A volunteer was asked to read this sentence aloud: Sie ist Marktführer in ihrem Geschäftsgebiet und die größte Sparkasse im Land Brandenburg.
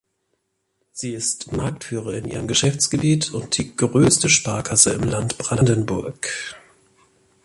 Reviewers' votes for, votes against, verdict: 3, 0, accepted